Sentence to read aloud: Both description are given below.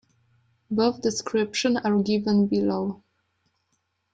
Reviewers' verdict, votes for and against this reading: accepted, 2, 0